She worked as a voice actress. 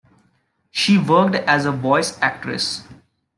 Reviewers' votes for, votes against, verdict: 1, 2, rejected